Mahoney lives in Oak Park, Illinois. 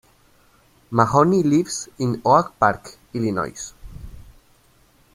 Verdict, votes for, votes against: rejected, 1, 2